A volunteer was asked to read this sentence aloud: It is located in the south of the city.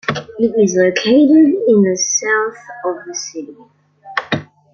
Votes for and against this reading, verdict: 2, 1, accepted